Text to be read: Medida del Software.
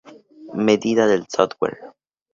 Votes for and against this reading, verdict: 2, 0, accepted